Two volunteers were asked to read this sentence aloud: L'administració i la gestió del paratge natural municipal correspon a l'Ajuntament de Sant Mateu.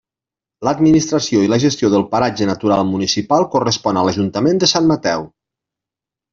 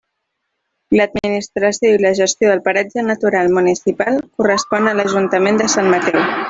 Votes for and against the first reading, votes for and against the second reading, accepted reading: 3, 0, 1, 2, first